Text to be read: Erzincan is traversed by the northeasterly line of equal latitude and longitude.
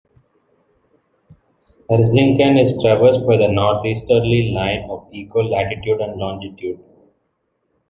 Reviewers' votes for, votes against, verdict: 1, 2, rejected